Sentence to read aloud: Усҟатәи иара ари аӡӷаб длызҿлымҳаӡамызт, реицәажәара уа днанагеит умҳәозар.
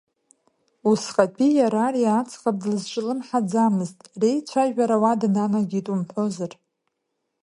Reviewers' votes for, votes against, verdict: 2, 0, accepted